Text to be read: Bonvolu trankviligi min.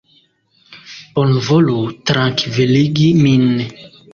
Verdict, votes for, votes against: accepted, 2, 0